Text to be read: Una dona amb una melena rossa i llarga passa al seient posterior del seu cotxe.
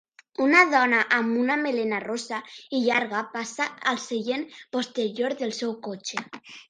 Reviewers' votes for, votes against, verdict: 2, 0, accepted